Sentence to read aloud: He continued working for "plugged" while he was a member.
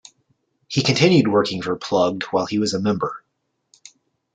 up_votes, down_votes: 3, 0